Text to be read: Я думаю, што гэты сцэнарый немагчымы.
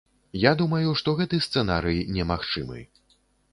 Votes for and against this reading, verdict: 2, 0, accepted